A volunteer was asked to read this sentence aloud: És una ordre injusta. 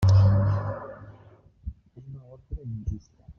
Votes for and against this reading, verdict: 0, 2, rejected